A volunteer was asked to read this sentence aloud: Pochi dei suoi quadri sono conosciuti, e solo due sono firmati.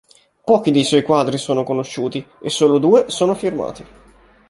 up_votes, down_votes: 2, 0